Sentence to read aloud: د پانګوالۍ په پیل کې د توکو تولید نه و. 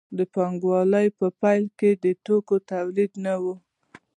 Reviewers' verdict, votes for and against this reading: accepted, 2, 1